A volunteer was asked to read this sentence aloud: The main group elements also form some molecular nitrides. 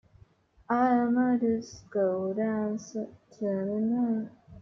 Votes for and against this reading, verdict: 1, 2, rejected